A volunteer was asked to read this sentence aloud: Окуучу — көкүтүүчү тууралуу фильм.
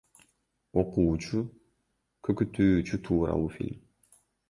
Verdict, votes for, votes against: accepted, 2, 0